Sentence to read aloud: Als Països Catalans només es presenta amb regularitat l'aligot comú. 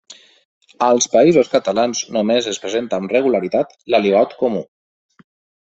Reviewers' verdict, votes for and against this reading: accepted, 2, 0